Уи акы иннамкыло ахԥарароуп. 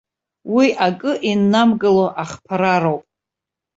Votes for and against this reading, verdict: 1, 2, rejected